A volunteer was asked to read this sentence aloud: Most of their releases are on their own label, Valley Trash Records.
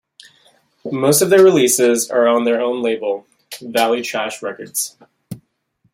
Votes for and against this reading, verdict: 2, 0, accepted